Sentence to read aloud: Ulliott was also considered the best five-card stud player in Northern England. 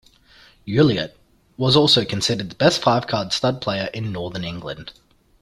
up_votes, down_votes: 2, 0